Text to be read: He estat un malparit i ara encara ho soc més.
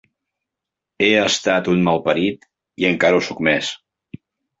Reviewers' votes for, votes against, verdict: 1, 2, rejected